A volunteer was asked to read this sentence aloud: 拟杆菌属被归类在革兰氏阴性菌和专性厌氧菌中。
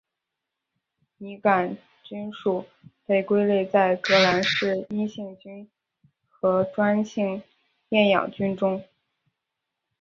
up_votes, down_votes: 1, 3